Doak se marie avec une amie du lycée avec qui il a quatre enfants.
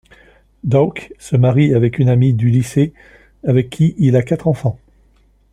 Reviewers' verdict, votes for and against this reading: accepted, 2, 0